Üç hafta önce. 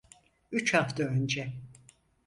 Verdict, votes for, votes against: accepted, 4, 0